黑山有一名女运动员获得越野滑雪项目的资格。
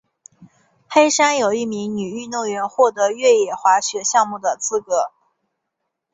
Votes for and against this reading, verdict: 4, 0, accepted